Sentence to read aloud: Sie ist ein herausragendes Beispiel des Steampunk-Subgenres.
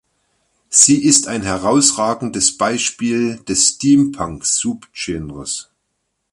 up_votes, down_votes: 0, 2